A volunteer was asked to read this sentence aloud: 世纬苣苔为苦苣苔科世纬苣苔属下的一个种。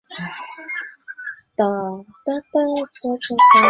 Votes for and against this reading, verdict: 1, 3, rejected